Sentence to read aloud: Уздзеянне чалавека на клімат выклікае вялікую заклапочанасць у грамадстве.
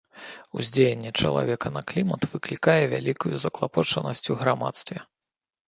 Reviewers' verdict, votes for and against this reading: accepted, 2, 0